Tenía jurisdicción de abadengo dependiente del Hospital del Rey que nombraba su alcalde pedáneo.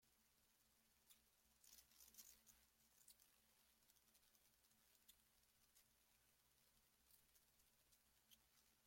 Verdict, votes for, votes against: rejected, 0, 2